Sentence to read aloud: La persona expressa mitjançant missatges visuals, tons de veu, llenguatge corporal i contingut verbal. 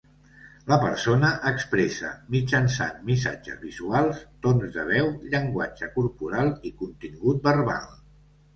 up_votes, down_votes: 2, 1